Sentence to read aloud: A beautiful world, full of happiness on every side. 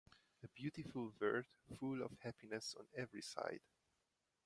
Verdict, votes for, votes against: rejected, 0, 2